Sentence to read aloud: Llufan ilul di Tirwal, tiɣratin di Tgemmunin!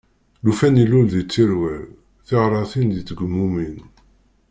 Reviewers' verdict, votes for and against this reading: rejected, 1, 2